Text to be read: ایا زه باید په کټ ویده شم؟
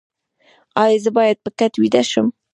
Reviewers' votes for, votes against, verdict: 3, 0, accepted